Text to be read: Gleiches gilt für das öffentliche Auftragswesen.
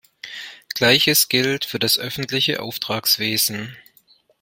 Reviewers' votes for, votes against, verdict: 2, 0, accepted